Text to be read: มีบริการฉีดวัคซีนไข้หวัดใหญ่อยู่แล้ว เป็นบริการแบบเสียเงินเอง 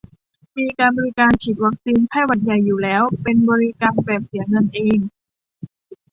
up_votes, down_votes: 0, 2